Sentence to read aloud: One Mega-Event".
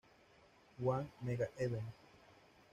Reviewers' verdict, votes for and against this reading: rejected, 1, 3